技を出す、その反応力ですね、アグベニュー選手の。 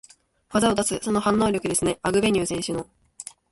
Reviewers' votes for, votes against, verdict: 2, 0, accepted